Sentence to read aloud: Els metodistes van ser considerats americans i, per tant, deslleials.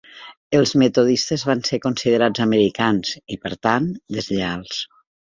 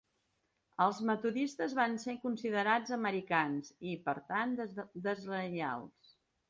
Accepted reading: first